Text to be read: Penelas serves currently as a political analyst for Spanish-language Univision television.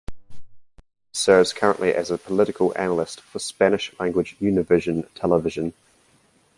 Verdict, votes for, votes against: rejected, 0, 2